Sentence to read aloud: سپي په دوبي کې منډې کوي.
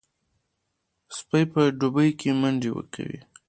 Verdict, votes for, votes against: accepted, 2, 0